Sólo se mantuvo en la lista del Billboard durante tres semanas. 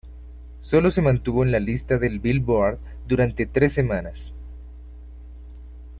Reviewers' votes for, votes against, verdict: 2, 0, accepted